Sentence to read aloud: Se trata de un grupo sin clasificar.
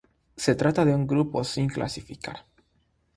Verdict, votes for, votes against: accepted, 3, 0